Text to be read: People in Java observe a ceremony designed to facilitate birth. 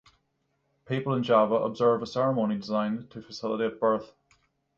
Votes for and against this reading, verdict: 6, 3, accepted